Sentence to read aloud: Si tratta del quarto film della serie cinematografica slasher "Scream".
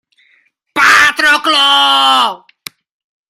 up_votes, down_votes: 0, 2